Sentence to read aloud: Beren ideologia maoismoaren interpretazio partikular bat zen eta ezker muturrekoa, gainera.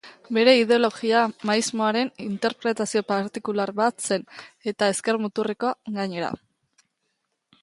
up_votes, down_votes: 0, 3